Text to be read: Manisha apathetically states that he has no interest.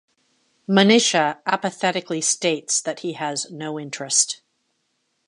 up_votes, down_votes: 2, 0